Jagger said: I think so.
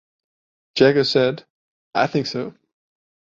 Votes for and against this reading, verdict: 2, 0, accepted